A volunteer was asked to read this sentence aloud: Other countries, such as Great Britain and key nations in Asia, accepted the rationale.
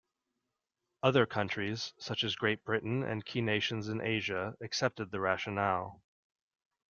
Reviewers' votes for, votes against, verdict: 2, 0, accepted